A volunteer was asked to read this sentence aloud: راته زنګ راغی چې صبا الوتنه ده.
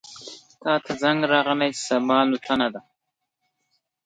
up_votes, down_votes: 1, 2